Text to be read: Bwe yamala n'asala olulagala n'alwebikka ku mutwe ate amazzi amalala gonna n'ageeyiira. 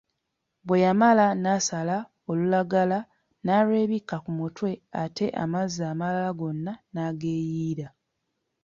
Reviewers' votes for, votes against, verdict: 2, 0, accepted